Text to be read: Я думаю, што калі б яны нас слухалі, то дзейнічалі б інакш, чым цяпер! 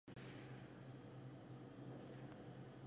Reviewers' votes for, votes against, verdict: 1, 2, rejected